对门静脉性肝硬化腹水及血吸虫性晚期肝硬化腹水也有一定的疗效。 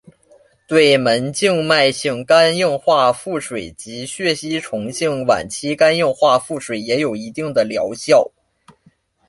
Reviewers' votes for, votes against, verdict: 2, 0, accepted